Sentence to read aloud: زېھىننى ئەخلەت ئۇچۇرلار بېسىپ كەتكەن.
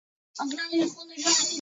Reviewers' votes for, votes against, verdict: 0, 2, rejected